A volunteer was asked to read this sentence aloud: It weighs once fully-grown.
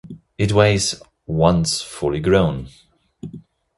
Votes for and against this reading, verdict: 2, 0, accepted